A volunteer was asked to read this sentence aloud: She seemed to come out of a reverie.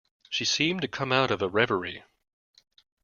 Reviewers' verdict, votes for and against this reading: accepted, 2, 0